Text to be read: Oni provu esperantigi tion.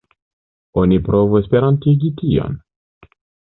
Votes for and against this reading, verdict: 2, 1, accepted